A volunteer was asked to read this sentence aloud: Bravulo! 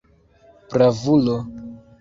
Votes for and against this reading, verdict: 2, 1, accepted